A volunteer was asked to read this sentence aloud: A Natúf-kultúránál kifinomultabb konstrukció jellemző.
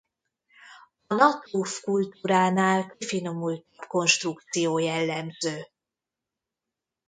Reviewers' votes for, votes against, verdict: 1, 2, rejected